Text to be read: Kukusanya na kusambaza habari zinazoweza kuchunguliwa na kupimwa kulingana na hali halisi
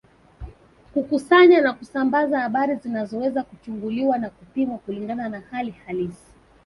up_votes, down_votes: 1, 2